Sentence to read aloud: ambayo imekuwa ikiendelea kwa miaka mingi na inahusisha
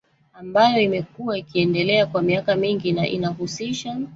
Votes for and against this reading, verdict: 1, 2, rejected